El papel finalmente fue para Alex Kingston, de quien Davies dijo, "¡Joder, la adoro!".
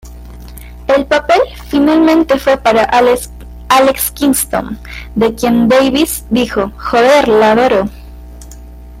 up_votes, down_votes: 1, 2